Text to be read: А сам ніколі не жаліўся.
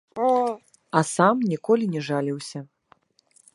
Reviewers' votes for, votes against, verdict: 1, 2, rejected